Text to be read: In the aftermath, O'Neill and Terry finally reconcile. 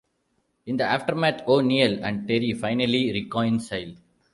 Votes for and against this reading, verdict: 2, 0, accepted